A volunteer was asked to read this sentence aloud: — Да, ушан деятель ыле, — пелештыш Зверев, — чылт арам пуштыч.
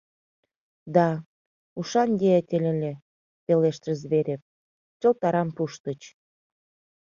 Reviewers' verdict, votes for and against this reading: accepted, 2, 0